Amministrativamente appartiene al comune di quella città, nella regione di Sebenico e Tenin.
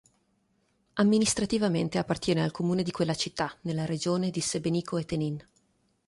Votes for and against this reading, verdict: 3, 0, accepted